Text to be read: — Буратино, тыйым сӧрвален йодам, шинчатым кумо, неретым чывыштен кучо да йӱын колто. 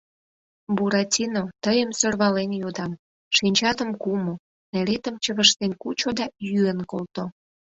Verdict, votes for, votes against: accepted, 2, 0